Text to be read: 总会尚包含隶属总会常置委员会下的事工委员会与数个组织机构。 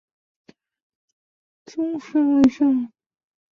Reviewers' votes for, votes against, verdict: 0, 2, rejected